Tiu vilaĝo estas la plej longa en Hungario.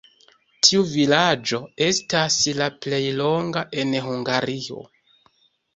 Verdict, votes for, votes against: accepted, 2, 0